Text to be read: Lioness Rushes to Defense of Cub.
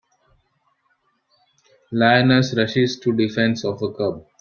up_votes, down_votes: 1, 2